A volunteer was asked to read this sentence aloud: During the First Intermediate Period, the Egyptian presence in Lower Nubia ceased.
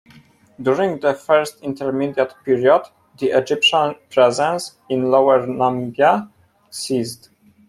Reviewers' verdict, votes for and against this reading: rejected, 0, 2